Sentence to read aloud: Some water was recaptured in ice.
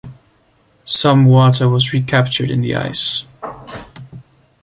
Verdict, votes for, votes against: rejected, 0, 2